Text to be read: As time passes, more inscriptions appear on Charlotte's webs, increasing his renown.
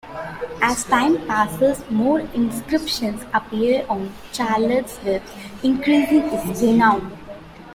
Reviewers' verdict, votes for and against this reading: accepted, 2, 0